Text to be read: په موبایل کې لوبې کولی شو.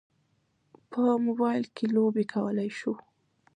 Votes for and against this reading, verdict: 2, 0, accepted